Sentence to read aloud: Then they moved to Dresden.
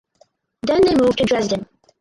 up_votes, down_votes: 0, 4